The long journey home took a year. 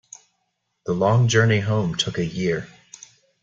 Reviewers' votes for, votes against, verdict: 2, 0, accepted